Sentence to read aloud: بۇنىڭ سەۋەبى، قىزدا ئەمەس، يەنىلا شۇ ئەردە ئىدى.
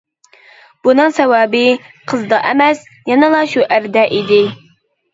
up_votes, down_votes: 2, 0